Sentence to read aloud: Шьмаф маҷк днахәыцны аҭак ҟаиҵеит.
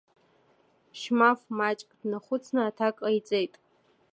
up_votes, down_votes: 2, 0